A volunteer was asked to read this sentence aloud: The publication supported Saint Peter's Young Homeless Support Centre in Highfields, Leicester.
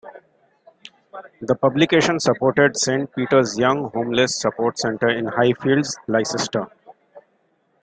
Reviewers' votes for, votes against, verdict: 2, 1, accepted